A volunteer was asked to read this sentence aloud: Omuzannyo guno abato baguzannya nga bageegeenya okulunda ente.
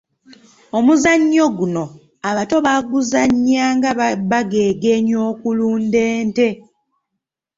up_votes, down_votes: 0, 2